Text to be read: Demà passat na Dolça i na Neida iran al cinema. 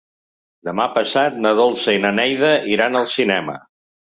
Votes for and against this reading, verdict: 3, 0, accepted